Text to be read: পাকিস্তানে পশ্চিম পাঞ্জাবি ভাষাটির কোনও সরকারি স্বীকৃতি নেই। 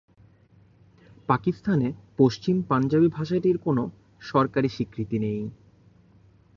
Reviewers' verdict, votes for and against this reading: accepted, 3, 0